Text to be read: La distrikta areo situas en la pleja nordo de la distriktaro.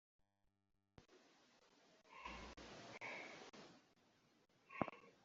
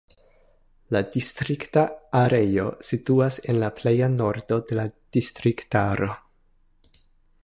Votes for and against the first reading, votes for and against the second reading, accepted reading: 0, 2, 2, 1, second